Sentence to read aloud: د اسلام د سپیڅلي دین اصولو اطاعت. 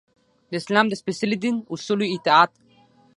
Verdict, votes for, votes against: accepted, 6, 3